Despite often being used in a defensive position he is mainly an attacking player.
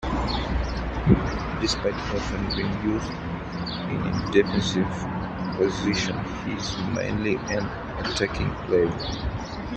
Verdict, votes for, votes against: rejected, 1, 2